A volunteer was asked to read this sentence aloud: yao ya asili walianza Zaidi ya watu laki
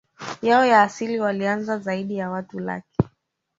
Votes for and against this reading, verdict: 1, 2, rejected